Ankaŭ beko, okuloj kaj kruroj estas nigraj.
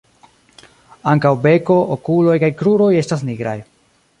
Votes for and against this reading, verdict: 2, 0, accepted